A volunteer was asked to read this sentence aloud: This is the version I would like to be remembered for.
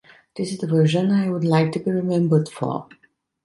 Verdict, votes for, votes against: accepted, 2, 0